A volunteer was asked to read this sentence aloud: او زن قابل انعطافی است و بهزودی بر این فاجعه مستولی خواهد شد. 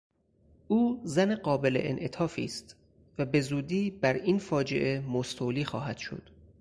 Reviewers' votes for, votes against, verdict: 6, 0, accepted